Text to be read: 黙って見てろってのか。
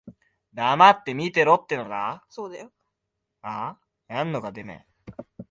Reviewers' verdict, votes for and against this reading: rejected, 0, 2